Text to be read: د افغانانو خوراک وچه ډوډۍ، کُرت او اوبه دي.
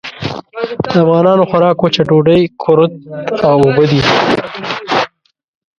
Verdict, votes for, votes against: rejected, 0, 2